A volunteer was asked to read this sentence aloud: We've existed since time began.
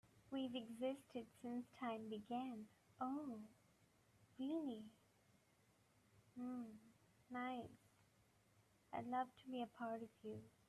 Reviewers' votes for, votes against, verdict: 0, 2, rejected